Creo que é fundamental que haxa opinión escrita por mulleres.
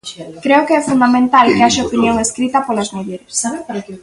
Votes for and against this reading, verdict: 0, 2, rejected